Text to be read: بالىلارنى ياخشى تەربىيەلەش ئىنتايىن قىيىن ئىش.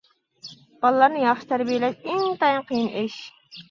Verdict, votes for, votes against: accepted, 2, 1